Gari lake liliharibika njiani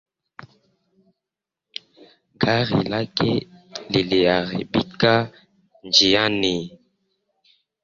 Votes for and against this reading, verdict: 1, 2, rejected